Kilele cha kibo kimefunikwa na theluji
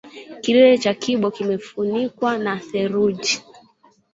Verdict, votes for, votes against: accepted, 2, 0